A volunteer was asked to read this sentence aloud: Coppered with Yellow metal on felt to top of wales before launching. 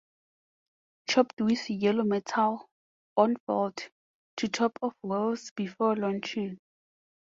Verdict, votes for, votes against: rejected, 0, 4